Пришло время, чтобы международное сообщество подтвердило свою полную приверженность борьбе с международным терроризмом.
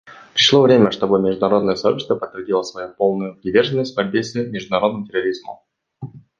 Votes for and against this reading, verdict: 2, 0, accepted